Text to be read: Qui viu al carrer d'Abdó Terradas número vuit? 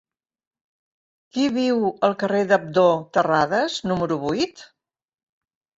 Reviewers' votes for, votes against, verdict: 2, 0, accepted